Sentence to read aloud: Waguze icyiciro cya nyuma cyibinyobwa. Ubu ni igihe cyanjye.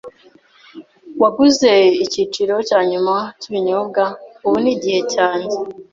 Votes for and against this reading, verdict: 2, 0, accepted